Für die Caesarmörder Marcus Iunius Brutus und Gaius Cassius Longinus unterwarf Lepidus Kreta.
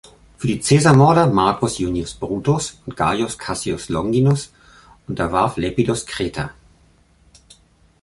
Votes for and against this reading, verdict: 0, 2, rejected